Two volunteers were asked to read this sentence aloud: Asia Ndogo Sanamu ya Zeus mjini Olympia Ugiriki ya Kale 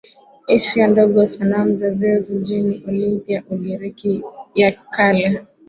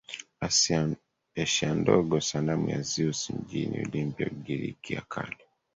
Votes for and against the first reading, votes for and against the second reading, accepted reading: 3, 2, 0, 2, first